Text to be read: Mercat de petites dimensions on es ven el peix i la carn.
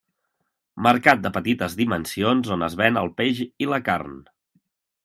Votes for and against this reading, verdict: 2, 0, accepted